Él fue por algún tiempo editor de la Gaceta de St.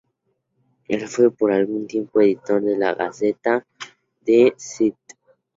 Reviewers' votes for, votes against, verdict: 2, 0, accepted